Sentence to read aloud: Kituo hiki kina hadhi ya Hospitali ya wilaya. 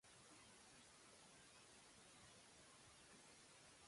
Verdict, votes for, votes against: rejected, 1, 2